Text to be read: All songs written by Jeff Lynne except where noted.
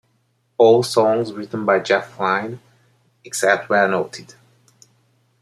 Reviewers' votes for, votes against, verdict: 3, 0, accepted